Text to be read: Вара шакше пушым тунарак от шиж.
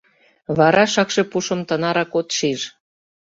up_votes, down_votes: 1, 2